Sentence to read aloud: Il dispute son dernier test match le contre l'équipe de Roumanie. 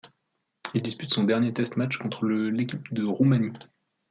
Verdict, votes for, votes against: rejected, 1, 2